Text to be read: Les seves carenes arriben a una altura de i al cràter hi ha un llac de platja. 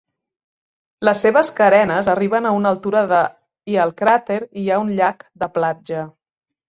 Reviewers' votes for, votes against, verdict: 3, 0, accepted